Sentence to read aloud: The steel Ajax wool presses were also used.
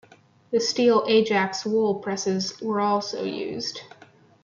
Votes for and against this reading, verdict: 0, 2, rejected